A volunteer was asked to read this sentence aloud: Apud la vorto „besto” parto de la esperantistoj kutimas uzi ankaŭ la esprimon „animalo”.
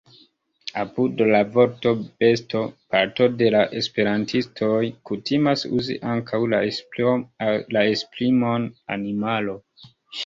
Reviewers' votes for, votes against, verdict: 0, 2, rejected